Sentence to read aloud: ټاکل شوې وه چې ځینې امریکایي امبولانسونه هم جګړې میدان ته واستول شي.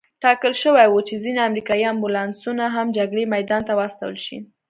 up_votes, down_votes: 2, 0